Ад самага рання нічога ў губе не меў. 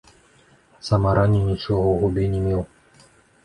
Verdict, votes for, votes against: rejected, 1, 2